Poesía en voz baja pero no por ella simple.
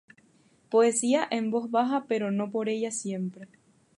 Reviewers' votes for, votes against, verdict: 0, 2, rejected